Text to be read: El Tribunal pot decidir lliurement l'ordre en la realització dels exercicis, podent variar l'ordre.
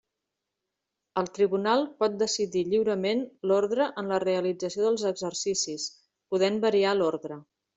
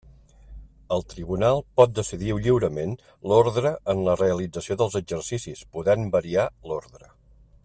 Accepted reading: first